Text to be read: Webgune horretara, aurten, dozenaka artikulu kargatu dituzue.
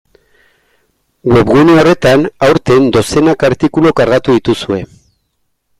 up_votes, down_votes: 1, 2